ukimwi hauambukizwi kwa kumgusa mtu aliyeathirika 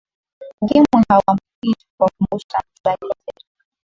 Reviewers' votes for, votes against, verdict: 2, 0, accepted